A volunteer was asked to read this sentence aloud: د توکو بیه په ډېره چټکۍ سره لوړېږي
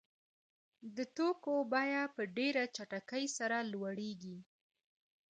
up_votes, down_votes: 1, 2